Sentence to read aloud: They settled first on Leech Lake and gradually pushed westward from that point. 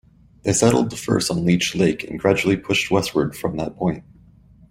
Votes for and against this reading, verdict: 0, 2, rejected